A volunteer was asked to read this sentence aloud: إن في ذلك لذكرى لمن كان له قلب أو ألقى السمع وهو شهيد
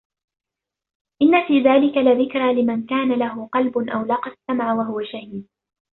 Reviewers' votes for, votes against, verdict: 1, 2, rejected